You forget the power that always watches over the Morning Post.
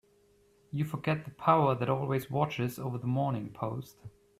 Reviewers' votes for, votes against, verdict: 3, 0, accepted